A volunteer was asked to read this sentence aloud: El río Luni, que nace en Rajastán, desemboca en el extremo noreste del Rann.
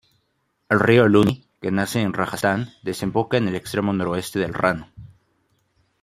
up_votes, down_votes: 0, 2